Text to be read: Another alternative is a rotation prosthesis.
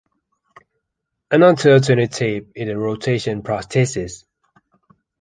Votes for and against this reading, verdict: 1, 3, rejected